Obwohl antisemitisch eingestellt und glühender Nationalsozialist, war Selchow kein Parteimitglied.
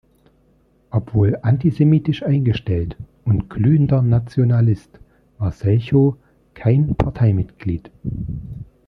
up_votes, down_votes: 0, 2